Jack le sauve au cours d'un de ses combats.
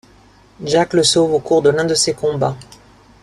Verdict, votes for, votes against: rejected, 1, 2